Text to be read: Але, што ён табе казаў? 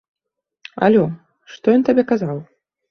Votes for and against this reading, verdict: 1, 2, rejected